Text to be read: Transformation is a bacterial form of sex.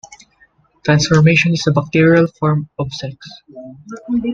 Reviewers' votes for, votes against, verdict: 2, 0, accepted